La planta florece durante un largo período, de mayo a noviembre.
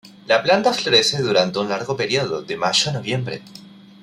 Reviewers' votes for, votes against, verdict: 2, 0, accepted